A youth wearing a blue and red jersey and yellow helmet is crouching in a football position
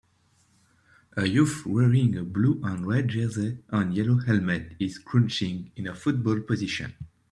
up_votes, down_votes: 0, 2